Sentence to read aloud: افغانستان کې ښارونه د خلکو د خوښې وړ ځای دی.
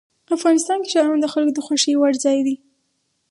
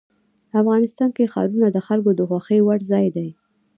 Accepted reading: first